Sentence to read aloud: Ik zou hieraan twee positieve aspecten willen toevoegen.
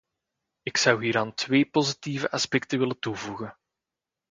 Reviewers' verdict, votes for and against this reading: accepted, 2, 0